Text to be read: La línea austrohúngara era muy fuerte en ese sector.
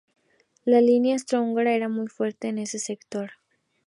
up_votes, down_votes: 2, 0